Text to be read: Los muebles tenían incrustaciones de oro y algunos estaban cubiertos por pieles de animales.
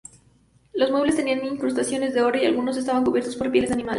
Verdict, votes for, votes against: rejected, 0, 4